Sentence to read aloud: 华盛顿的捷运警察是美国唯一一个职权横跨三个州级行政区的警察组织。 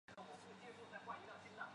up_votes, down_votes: 0, 2